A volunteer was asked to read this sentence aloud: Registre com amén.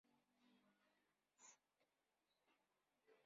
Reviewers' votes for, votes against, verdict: 0, 2, rejected